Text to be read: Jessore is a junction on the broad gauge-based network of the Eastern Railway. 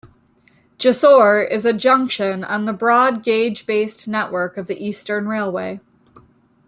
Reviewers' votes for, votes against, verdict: 1, 2, rejected